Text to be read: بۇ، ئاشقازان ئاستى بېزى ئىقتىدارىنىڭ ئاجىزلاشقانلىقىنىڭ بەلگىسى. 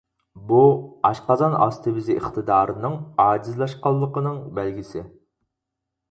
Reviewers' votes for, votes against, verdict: 4, 0, accepted